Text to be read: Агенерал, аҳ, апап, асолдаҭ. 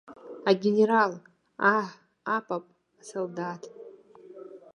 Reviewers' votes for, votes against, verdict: 0, 2, rejected